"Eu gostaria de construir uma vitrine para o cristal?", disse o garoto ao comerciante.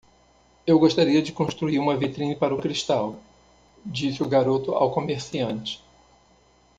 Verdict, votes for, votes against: rejected, 1, 2